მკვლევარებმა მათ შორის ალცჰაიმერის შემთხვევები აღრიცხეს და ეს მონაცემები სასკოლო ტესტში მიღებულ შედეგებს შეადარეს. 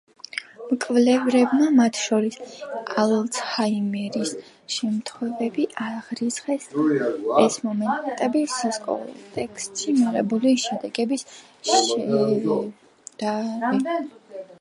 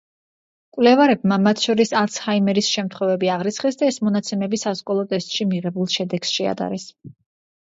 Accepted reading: second